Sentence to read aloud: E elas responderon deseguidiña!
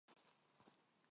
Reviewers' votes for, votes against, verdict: 0, 4, rejected